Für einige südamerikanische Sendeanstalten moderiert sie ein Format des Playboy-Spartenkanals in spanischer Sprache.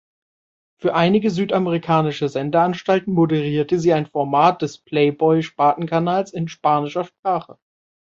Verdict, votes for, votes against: rejected, 0, 2